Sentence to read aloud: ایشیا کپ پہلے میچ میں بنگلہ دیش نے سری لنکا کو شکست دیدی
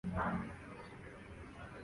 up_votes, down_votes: 0, 2